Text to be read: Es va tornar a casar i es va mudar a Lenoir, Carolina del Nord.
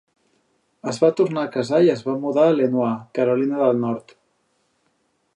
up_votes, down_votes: 4, 0